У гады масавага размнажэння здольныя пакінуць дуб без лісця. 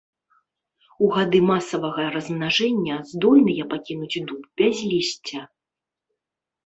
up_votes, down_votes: 1, 2